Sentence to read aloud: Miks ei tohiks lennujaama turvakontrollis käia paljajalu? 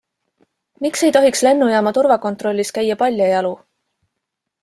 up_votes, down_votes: 2, 0